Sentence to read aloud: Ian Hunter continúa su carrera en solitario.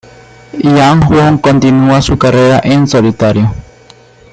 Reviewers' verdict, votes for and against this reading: rejected, 0, 2